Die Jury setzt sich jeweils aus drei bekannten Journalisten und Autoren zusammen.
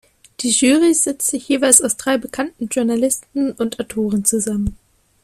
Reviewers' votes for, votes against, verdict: 0, 2, rejected